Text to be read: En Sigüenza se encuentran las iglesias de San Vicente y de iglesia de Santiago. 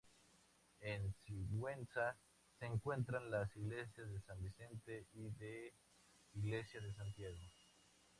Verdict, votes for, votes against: rejected, 0, 2